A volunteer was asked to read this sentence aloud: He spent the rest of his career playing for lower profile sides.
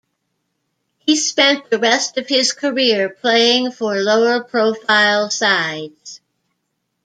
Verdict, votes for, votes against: accepted, 2, 0